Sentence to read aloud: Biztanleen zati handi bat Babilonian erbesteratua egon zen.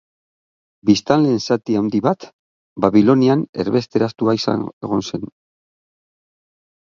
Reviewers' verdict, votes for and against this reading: rejected, 0, 9